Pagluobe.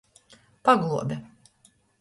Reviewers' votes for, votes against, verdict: 2, 0, accepted